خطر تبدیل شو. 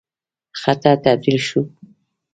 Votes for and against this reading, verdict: 0, 2, rejected